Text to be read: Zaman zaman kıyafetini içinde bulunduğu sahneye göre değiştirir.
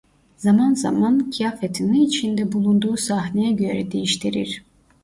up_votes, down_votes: 1, 2